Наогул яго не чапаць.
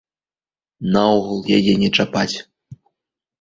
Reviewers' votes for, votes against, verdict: 0, 3, rejected